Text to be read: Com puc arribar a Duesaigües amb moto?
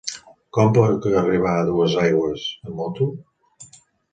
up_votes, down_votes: 1, 2